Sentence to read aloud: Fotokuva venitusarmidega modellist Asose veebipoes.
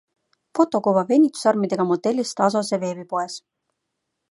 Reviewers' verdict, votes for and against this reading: accepted, 2, 0